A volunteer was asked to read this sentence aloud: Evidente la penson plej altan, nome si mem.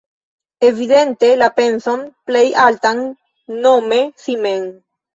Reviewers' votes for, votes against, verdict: 0, 2, rejected